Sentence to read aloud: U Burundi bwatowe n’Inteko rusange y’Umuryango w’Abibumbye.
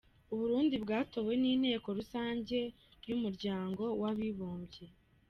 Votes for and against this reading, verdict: 2, 1, accepted